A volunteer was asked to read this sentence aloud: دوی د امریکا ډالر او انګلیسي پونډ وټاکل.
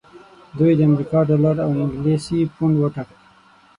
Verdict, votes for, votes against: rejected, 0, 6